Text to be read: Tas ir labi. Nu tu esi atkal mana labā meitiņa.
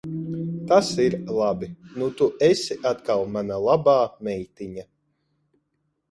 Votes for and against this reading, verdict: 0, 2, rejected